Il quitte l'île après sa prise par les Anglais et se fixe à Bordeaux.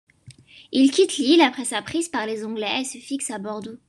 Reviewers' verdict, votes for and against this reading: accepted, 2, 0